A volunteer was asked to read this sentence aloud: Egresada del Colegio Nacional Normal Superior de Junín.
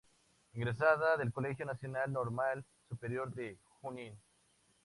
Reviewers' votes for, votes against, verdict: 2, 0, accepted